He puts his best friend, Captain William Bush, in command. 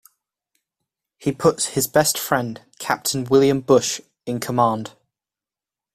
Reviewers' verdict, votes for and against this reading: accepted, 2, 0